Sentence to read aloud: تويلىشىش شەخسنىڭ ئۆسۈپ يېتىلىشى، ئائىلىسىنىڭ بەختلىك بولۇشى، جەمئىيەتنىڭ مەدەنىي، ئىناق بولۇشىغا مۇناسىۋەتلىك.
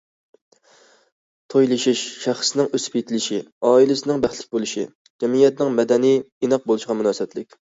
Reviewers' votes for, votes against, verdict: 2, 0, accepted